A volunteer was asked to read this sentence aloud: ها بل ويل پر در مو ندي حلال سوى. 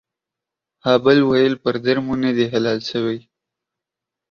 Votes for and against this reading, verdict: 2, 1, accepted